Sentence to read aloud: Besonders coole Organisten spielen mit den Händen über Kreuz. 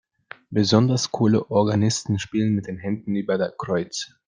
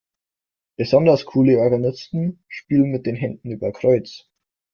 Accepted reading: second